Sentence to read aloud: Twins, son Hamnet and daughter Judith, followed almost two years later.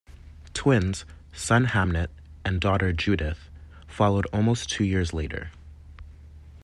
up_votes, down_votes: 2, 1